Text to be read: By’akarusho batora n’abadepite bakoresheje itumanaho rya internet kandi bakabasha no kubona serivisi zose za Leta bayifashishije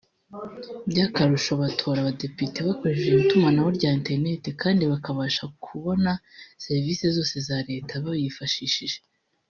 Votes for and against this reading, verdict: 0, 2, rejected